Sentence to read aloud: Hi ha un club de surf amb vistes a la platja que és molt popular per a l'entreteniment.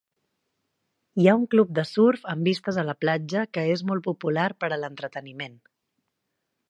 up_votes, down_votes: 3, 0